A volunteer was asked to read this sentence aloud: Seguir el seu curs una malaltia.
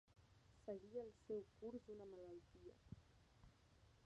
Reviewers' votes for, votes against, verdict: 0, 2, rejected